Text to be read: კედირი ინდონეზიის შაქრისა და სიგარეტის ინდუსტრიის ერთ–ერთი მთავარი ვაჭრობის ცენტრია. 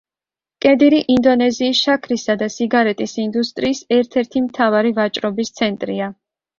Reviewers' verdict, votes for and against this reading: accepted, 2, 0